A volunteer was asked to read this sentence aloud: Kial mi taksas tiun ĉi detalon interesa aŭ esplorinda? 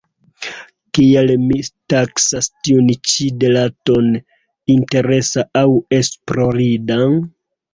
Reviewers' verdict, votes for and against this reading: accepted, 2, 1